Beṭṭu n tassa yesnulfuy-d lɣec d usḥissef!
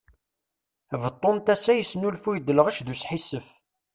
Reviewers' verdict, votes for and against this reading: accepted, 2, 0